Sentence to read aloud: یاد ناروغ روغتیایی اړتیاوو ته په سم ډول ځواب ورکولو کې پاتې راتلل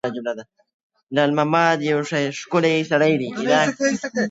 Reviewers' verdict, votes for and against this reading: rejected, 0, 3